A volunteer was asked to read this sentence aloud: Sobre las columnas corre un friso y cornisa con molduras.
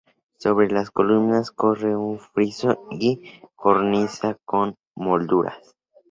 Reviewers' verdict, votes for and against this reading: accepted, 2, 0